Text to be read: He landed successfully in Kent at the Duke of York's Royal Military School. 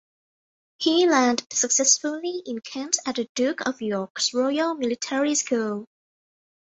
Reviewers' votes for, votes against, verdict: 2, 1, accepted